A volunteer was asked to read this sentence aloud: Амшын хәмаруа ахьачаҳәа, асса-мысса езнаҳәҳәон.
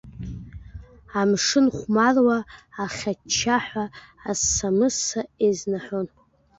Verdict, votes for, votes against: rejected, 0, 2